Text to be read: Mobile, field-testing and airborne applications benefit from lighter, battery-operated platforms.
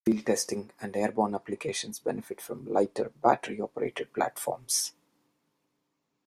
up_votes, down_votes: 0, 2